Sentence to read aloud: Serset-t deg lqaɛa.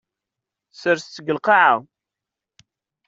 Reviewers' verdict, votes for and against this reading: accepted, 2, 0